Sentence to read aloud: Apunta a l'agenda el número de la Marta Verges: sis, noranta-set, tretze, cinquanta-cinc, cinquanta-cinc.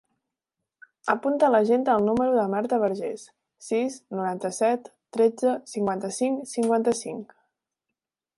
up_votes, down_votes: 2, 0